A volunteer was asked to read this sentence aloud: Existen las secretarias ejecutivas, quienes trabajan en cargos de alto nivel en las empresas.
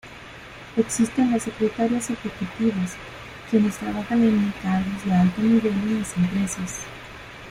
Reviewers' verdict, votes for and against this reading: rejected, 1, 2